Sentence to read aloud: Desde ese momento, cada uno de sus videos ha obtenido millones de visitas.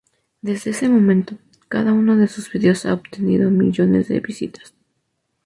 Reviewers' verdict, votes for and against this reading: rejected, 0, 2